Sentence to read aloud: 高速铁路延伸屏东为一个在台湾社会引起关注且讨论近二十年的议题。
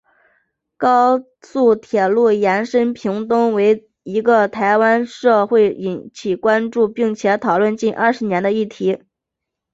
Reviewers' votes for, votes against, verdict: 6, 0, accepted